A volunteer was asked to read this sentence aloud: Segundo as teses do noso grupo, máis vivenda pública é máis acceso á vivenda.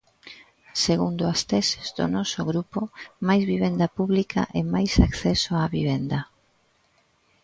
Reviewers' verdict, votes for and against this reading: accepted, 2, 0